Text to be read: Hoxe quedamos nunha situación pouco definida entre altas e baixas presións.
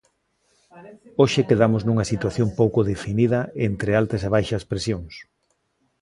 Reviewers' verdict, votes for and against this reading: rejected, 0, 2